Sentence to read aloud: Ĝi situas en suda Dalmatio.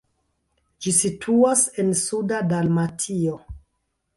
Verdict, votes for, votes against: rejected, 1, 2